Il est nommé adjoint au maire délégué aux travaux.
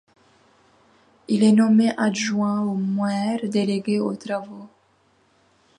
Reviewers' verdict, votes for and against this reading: rejected, 0, 2